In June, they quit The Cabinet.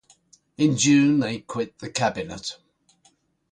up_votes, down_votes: 2, 0